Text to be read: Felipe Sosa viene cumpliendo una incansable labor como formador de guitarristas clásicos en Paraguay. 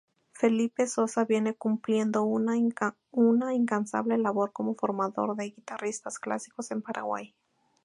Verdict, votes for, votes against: rejected, 0, 2